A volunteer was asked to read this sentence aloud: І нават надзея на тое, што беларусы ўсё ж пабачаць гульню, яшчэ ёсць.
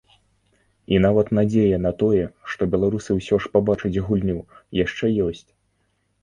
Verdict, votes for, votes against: accepted, 2, 0